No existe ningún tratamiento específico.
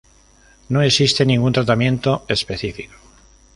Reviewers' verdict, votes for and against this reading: accepted, 5, 1